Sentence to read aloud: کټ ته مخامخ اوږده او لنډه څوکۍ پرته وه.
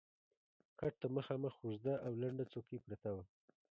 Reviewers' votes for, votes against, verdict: 0, 2, rejected